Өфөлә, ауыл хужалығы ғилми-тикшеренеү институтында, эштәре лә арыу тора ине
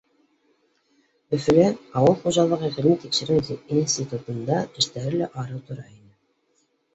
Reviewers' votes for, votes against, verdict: 0, 2, rejected